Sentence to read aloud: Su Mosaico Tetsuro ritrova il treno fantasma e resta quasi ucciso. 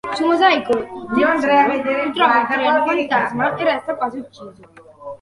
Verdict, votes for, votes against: rejected, 0, 2